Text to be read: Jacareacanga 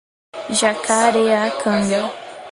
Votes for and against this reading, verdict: 0, 2, rejected